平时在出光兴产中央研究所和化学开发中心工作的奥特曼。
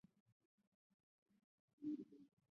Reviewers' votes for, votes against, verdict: 2, 5, rejected